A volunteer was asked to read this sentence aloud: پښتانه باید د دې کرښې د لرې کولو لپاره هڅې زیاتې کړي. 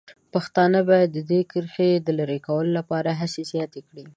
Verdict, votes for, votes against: accepted, 7, 0